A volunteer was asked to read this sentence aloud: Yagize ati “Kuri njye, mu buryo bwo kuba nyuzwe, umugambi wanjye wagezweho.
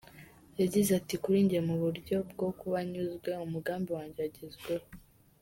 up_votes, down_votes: 2, 0